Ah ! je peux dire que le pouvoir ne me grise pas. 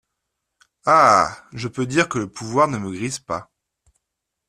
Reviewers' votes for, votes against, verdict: 2, 0, accepted